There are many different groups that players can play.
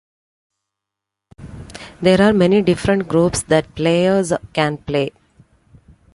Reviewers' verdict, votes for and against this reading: accepted, 3, 0